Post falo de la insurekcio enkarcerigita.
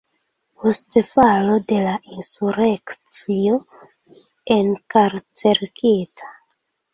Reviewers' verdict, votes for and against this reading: rejected, 1, 2